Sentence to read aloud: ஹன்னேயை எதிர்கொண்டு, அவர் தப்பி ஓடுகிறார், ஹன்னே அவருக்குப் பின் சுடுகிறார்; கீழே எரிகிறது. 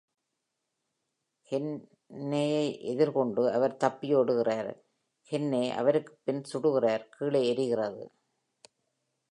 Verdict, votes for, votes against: rejected, 1, 2